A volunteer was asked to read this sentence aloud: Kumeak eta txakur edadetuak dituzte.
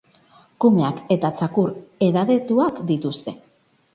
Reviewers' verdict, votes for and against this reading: accepted, 2, 0